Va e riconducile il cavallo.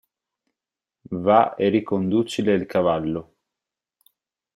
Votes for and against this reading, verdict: 4, 0, accepted